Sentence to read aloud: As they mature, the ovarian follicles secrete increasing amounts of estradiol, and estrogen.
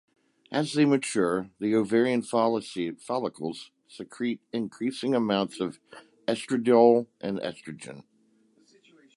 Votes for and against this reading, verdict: 0, 2, rejected